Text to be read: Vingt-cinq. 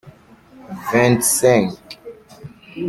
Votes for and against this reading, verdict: 2, 0, accepted